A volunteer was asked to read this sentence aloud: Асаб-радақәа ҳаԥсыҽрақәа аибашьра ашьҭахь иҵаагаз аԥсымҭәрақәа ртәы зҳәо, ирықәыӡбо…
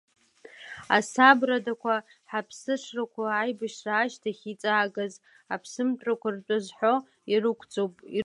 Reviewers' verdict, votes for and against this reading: rejected, 1, 2